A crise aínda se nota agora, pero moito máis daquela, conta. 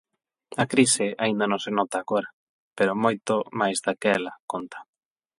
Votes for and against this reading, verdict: 0, 8, rejected